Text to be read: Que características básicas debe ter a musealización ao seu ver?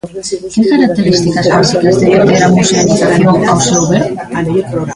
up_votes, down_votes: 0, 2